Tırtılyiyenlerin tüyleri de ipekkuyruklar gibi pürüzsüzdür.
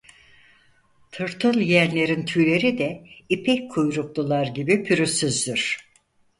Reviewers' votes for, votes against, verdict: 0, 4, rejected